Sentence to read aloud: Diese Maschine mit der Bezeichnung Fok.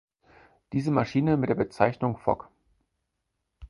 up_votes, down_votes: 6, 0